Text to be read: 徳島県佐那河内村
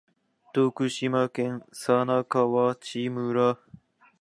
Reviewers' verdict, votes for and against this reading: accepted, 2, 0